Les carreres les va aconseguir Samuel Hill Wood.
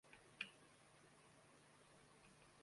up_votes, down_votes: 0, 2